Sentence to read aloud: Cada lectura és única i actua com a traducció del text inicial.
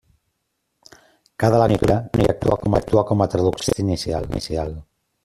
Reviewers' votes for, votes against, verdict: 0, 2, rejected